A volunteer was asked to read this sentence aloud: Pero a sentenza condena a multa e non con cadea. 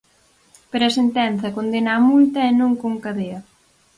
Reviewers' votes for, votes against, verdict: 4, 0, accepted